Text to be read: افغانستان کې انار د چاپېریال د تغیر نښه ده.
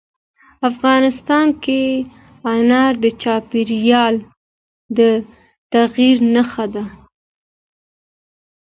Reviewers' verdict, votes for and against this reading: accepted, 2, 0